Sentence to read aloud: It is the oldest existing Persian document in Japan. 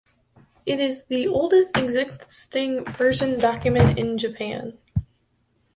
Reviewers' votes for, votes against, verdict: 1, 2, rejected